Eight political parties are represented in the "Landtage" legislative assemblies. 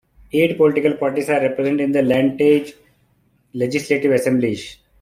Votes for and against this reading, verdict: 1, 2, rejected